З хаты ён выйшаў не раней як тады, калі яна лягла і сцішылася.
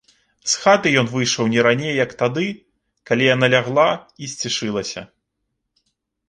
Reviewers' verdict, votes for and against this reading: rejected, 1, 2